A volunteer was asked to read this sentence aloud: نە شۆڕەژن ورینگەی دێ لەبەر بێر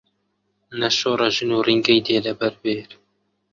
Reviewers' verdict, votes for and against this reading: rejected, 1, 2